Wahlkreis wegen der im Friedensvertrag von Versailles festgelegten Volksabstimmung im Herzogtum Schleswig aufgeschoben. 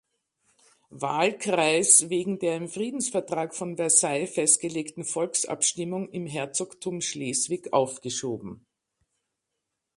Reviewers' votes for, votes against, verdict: 2, 0, accepted